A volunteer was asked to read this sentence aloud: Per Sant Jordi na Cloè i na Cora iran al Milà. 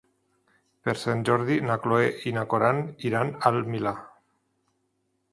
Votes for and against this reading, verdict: 0, 2, rejected